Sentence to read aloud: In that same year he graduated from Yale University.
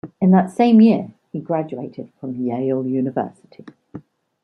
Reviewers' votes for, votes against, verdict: 2, 1, accepted